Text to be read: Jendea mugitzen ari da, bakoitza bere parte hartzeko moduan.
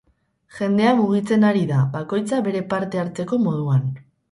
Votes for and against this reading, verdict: 4, 0, accepted